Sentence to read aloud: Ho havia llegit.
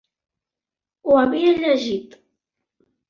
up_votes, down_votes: 2, 0